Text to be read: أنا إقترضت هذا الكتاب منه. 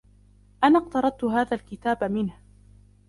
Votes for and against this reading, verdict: 2, 0, accepted